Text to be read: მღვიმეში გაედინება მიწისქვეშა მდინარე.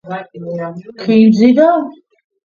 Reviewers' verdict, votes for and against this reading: rejected, 0, 2